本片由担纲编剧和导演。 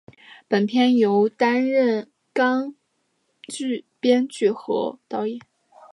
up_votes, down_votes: 1, 2